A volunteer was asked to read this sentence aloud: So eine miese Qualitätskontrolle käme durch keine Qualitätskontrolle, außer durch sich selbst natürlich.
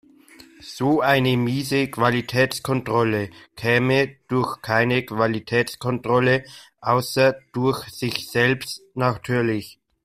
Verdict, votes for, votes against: rejected, 0, 2